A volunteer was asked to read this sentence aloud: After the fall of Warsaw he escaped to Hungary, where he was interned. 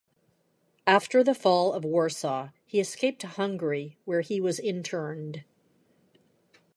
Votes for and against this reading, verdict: 2, 0, accepted